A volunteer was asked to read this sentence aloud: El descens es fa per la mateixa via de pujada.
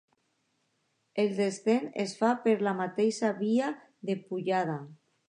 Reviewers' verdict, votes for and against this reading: accepted, 2, 0